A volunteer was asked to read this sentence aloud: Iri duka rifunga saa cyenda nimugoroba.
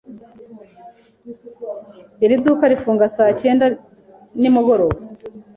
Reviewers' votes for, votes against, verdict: 3, 0, accepted